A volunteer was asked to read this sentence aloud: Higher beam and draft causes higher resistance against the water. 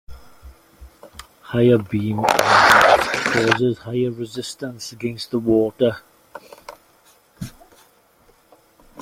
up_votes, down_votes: 1, 2